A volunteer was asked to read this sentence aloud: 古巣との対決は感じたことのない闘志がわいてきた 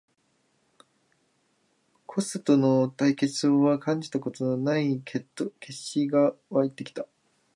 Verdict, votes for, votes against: rejected, 0, 2